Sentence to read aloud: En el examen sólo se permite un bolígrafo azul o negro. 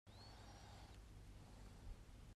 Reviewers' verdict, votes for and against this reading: rejected, 0, 2